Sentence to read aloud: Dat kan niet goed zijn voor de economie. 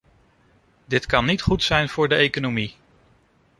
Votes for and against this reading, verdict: 0, 2, rejected